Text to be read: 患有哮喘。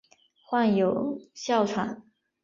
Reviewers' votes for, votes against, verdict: 3, 0, accepted